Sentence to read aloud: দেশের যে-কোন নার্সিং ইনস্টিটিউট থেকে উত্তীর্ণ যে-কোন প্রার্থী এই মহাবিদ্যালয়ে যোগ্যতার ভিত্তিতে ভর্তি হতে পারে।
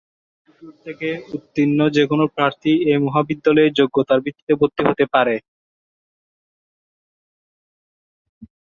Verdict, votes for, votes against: rejected, 0, 2